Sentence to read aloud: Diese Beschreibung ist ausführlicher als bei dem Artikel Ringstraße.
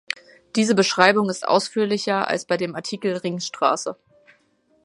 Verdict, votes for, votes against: accepted, 2, 0